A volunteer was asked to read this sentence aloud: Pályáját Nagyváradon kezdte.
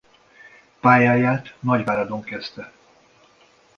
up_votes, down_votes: 2, 0